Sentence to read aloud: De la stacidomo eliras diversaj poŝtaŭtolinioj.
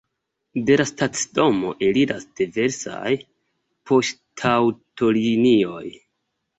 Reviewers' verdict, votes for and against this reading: accepted, 2, 0